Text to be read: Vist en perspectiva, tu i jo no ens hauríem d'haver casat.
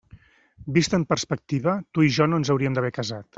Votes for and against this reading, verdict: 3, 0, accepted